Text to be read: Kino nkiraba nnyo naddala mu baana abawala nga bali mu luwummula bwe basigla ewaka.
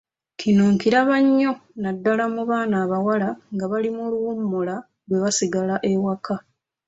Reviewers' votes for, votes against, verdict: 2, 0, accepted